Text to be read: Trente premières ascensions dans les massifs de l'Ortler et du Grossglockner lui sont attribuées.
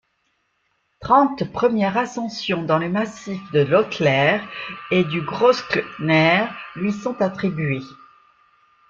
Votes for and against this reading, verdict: 0, 2, rejected